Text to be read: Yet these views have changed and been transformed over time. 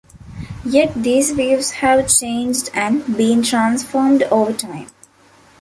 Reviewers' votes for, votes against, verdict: 2, 1, accepted